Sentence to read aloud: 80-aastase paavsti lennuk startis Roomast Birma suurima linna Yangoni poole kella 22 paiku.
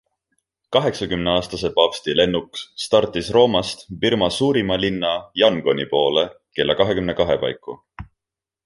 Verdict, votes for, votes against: rejected, 0, 2